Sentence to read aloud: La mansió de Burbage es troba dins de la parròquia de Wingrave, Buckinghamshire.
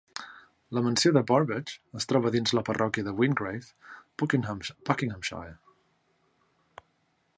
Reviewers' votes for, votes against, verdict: 0, 2, rejected